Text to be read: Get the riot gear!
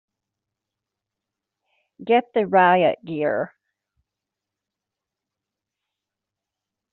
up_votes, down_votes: 4, 0